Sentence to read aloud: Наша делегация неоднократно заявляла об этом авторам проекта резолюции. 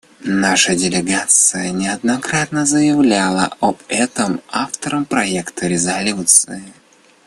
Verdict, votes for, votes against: rejected, 0, 2